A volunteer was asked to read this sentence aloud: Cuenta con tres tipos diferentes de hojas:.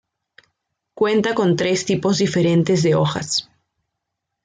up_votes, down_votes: 2, 0